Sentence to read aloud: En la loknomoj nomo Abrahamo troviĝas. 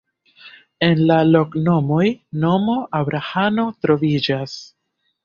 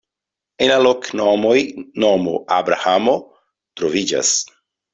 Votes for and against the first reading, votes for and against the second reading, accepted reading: 1, 2, 2, 0, second